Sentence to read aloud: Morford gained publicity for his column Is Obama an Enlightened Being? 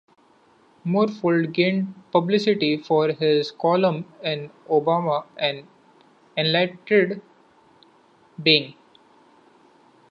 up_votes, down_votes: 0, 2